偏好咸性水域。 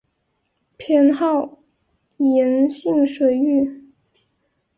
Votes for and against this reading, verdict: 2, 3, rejected